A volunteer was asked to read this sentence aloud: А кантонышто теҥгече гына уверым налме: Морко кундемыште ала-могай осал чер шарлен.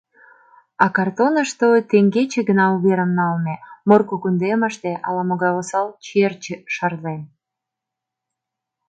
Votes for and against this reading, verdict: 0, 3, rejected